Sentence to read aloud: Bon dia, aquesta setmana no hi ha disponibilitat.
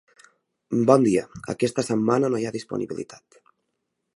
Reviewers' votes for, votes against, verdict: 3, 0, accepted